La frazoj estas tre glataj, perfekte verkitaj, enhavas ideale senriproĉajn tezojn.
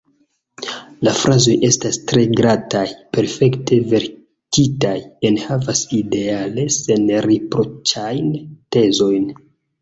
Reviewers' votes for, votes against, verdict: 2, 0, accepted